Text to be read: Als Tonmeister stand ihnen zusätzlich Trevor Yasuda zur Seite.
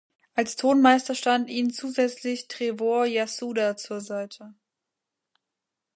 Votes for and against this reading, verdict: 1, 2, rejected